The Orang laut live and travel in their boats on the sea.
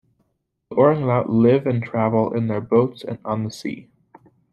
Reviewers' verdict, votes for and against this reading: rejected, 1, 2